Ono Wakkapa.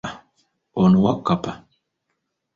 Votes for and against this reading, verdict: 2, 0, accepted